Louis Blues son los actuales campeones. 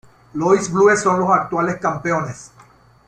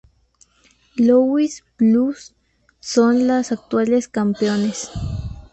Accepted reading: second